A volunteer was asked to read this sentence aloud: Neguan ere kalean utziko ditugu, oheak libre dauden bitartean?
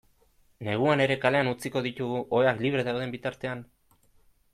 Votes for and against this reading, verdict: 2, 0, accepted